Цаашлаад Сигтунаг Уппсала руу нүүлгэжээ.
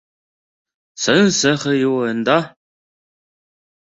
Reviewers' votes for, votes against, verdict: 0, 2, rejected